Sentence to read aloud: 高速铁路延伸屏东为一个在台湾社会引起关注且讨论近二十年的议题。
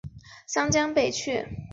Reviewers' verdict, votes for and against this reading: rejected, 0, 2